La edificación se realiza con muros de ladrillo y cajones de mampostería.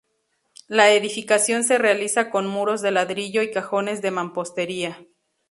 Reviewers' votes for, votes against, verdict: 2, 0, accepted